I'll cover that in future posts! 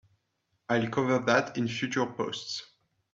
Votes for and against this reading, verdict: 1, 2, rejected